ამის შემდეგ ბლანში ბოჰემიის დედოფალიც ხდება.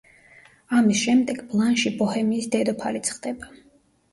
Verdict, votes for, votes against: rejected, 1, 2